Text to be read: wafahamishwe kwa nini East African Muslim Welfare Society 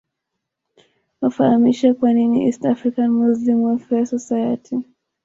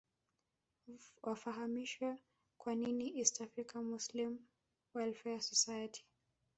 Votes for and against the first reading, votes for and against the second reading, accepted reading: 2, 0, 1, 2, first